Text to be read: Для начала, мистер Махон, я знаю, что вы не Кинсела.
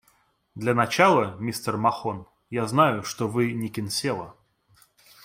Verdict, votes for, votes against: accepted, 2, 1